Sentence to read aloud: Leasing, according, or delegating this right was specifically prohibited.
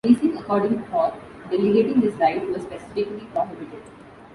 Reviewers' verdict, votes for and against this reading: rejected, 0, 2